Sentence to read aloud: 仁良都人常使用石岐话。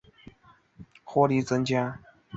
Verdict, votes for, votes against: rejected, 0, 2